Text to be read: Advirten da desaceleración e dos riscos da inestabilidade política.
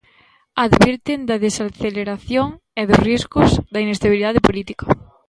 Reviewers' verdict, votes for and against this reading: accepted, 2, 1